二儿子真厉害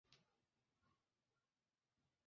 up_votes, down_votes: 0, 6